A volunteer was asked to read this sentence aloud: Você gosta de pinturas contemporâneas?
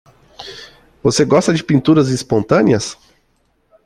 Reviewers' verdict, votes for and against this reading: rejected, 0, 2